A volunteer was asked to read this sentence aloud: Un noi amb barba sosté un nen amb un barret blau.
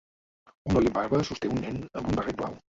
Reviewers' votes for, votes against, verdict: 0, 2, rejected